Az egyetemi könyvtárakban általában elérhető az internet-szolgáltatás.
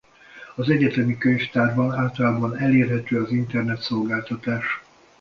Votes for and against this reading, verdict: 0, 2, rejected